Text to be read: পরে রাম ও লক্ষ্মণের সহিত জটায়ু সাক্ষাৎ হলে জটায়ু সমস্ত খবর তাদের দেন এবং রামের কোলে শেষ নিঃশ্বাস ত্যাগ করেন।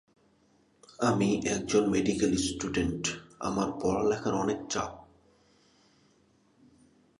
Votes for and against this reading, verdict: 0, 2, rejected